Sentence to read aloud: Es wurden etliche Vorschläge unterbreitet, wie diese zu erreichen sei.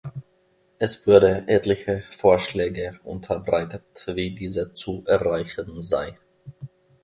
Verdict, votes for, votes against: rejected, 0, 2